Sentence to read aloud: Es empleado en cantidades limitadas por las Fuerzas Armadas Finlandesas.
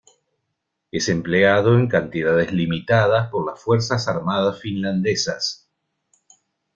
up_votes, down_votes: 2, 0